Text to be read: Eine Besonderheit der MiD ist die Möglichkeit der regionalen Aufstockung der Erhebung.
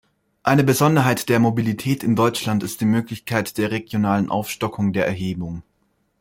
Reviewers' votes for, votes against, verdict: 1, 2, rejected